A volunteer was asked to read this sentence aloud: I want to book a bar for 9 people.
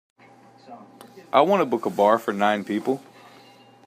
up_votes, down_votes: 0, 2